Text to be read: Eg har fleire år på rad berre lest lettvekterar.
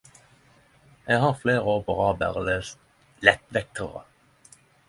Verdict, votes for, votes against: accepted, 10, 0